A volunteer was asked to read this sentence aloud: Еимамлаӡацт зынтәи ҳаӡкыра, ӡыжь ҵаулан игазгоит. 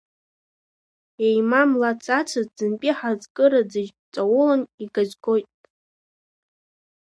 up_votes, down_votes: 1, 2